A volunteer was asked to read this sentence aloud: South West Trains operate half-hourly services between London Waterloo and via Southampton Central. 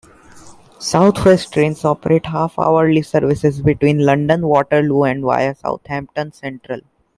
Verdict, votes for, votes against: accepted, 2, 0